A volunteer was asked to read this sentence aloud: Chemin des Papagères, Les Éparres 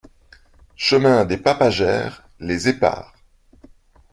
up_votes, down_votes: 2, 0